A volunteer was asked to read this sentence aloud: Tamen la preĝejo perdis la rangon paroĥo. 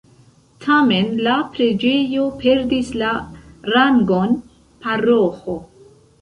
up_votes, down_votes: 2, 1